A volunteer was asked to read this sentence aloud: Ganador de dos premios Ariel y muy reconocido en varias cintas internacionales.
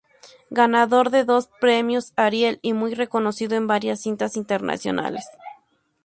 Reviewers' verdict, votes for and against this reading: accepted, 2, 0